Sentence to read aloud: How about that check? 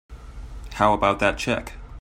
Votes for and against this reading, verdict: 2, 0, accepted